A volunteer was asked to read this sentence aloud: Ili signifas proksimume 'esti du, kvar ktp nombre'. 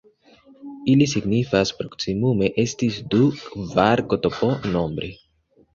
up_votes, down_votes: 0, 2